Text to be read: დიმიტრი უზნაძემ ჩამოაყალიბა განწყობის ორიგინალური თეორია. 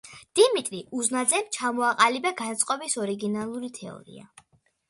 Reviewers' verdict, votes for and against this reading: accepted, 2, 0